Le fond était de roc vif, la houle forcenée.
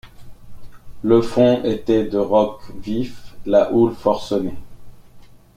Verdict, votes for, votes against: accepted, 2, 0